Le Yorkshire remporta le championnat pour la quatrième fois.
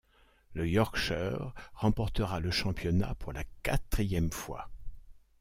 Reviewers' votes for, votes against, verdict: 0, 2, rejected